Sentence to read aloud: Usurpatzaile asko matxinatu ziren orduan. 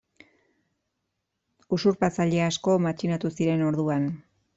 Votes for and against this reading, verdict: 2, 0, accepted